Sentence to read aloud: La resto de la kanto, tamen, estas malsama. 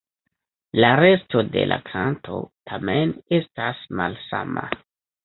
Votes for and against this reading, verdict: 1, 2, rejected